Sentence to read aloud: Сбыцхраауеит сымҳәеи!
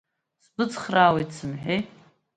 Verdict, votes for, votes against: accepted, 2, 0